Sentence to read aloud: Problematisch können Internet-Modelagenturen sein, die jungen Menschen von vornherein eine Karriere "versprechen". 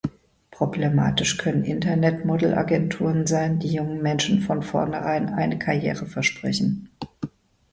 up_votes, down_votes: 2, 1